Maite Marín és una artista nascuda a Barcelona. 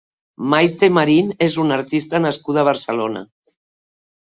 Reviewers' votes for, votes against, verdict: 4, 0, accepted